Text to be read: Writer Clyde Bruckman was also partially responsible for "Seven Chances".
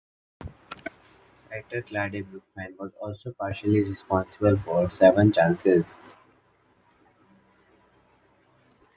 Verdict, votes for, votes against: rejected, 1, 2